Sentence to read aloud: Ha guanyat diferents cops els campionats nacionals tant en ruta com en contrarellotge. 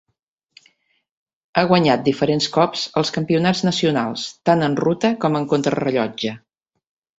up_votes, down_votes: 2, 0